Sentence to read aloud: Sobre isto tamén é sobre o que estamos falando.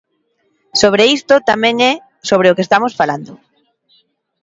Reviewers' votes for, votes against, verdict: 2, 0, accepted